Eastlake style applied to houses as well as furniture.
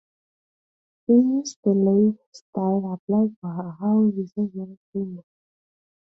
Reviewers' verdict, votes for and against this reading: rejected, 1, 2